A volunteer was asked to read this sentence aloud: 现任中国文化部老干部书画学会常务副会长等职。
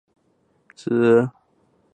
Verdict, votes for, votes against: rejected, 0, 3